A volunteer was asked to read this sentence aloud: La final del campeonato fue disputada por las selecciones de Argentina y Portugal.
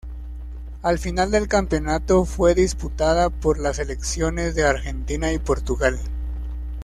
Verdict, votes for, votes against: rejected, 1, 2